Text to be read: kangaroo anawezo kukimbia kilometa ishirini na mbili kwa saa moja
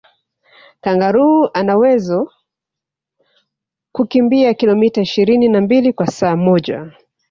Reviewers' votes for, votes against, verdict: 3, 0, accepted